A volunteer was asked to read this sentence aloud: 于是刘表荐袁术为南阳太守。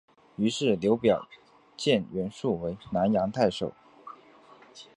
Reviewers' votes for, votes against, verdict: 2, 0, accepted